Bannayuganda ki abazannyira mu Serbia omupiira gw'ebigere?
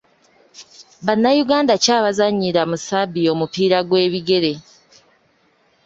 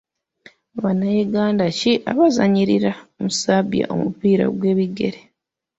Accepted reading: first